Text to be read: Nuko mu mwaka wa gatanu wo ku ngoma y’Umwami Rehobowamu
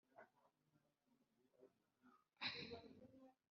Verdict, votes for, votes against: rejected, 0, 3